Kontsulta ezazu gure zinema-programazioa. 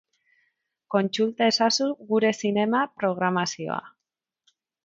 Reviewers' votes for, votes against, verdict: 4, 0, accepted